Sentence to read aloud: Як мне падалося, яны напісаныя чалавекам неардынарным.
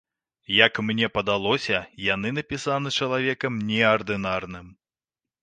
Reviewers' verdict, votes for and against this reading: rejected, 0, 2